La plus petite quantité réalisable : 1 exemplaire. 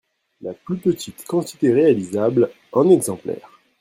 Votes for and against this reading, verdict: 0, 2, rejected